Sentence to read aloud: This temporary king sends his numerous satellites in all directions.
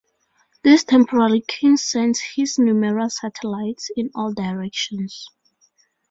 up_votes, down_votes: 2, 0